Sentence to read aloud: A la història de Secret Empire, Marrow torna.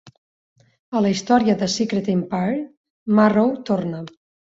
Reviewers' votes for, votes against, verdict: 4, 0, accepted